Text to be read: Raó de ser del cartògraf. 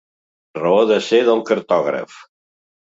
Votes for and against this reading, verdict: 2, 0, accepted